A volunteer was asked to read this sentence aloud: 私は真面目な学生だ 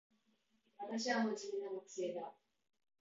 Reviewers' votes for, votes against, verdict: 0, 2, rejected